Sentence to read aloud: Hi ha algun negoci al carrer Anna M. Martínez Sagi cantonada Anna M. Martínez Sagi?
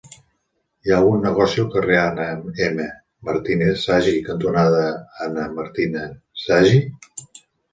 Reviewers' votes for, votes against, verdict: 1, 2, rejected